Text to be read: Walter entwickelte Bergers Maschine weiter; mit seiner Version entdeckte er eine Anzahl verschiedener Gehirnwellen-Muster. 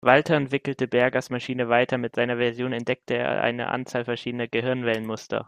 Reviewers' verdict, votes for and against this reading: accepted, 2, 0